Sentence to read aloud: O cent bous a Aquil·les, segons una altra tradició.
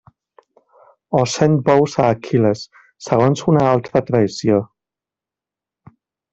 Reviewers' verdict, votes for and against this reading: accepted, 2, 0